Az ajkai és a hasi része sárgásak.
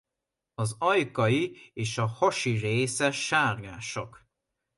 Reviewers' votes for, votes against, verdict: 2, 0, accepted